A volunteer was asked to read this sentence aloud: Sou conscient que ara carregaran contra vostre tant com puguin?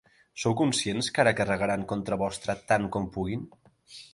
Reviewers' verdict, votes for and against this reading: rejected, 2, 3